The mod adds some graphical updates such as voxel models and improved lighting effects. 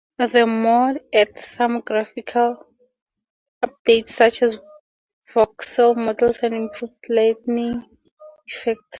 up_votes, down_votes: 4, 2